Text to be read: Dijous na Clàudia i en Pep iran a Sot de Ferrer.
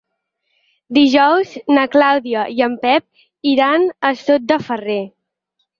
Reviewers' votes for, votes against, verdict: 4, 0, accepted